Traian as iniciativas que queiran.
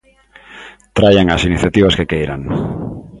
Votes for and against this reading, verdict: 2, 0, accepted